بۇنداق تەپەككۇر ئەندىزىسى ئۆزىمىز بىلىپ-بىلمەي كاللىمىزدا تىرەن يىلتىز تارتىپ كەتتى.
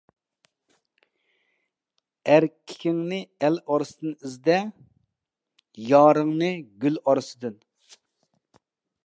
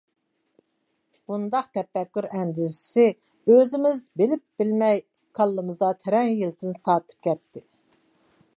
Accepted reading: second